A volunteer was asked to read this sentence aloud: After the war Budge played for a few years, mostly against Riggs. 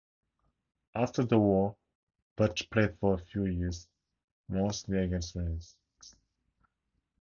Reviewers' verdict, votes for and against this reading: rejected, 0, 6